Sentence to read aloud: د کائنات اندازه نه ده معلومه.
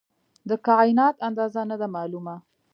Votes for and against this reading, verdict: 3, 0, accepted